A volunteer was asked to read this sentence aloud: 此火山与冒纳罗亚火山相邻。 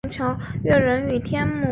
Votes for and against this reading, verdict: 0, 2, rejected